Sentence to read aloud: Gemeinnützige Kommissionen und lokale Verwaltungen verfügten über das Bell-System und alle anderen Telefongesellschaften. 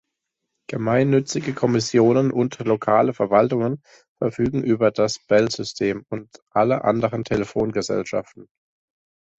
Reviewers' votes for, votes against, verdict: 1, 2, rejected